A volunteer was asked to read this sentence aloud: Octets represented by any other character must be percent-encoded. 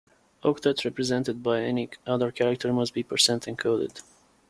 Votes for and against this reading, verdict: 2, 0, accepted